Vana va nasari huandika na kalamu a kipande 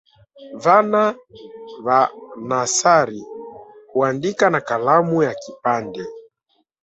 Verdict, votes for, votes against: rejected, 0, 2